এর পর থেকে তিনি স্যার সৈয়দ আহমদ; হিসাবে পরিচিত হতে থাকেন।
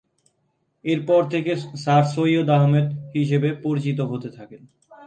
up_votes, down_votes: 0, 2